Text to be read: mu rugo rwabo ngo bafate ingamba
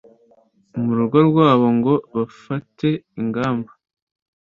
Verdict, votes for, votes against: accepted, 2, 0